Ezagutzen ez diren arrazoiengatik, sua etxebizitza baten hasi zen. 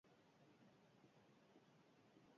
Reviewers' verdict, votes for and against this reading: rejected, 0, 4